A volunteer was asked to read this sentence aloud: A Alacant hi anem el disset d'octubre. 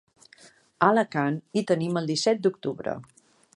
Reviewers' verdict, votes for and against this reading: rejected, 0, 3